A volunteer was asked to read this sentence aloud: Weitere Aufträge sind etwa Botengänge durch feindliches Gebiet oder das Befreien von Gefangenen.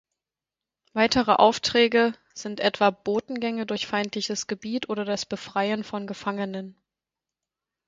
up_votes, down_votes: 4, 0